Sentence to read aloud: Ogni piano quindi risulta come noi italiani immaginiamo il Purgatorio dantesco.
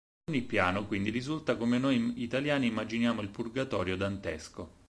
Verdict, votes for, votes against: rejected, 4, 6